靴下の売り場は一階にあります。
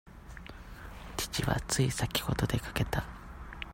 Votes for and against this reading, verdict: 0, 2, rejected